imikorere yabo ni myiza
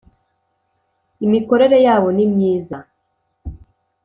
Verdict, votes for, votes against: accepted, 2, 0